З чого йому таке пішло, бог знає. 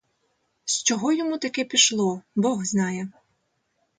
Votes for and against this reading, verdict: 2, 0, accepted